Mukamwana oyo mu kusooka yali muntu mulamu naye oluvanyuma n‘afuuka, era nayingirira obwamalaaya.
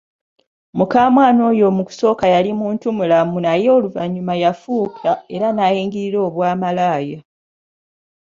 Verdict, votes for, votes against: rejected, 1, 2